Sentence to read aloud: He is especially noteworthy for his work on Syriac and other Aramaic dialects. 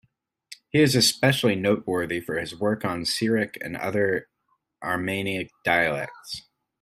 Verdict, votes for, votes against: rejected, 0, 2